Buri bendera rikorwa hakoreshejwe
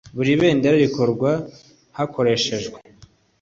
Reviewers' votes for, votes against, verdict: 2, 0, accepted